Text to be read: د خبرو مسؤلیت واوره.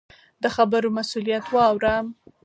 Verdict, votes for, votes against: accepted, 4, 0